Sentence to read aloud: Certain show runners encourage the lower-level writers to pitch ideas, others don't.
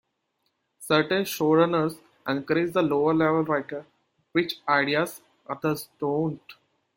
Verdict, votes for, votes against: rejected, 0, 2